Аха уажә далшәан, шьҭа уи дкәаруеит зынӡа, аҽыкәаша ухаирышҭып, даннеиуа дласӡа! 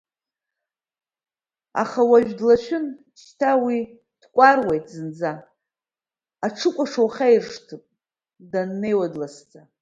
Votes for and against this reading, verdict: 1, 2, rejected